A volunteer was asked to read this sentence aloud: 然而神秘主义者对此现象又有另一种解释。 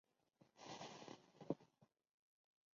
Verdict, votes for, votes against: rejected, 0, 3